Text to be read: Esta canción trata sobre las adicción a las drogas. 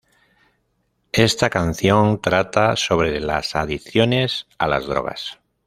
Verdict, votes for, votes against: rejected, 1, 2